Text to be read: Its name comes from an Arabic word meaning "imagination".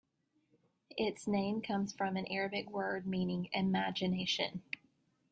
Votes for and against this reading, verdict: 3, 0, accepted